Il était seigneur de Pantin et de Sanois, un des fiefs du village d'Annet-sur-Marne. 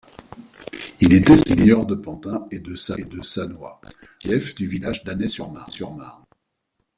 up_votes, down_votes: 1, 2